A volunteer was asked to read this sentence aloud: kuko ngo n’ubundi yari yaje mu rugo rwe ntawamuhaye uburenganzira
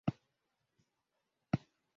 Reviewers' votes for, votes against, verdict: 0, 2, rejected